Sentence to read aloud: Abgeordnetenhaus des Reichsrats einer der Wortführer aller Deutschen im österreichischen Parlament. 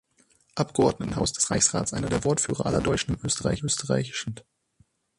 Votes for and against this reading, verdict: 0, 6, rejected